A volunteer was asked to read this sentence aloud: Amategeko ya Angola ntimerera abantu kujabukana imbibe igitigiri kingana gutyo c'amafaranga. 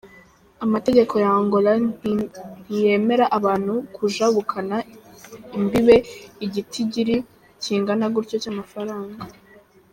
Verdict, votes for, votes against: rejected, 1, 2